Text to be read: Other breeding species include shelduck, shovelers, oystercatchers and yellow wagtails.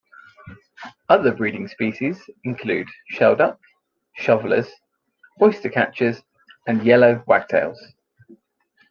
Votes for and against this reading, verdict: 2, 0, accepted